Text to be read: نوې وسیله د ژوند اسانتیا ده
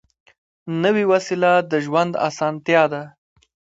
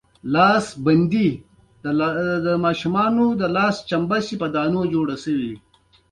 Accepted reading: first